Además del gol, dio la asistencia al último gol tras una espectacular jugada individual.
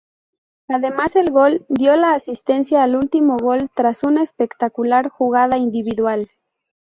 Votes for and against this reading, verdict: 2, 0, accepted